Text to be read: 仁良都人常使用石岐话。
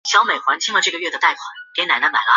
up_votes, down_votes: 1, 2